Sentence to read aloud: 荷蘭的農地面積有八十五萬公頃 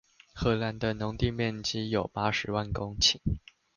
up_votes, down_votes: 0, 2